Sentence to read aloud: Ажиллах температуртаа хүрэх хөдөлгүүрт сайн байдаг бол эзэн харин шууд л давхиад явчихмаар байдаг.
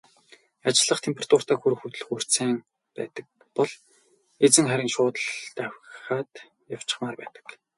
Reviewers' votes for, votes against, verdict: 2, 0, accepted